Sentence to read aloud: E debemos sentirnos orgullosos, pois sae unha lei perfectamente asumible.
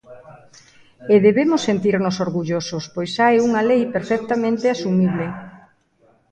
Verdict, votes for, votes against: rejected, 0, 2